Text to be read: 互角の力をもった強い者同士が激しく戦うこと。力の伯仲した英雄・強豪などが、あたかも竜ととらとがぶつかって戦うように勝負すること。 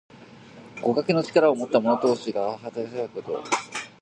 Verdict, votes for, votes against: rejected, 1, 2